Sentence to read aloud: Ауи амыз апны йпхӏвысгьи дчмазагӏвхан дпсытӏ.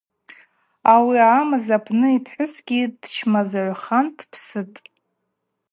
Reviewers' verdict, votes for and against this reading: accepted, 2, 0